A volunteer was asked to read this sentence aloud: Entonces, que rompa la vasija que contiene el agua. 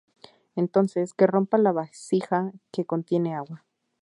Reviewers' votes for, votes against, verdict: 0, 2, rejected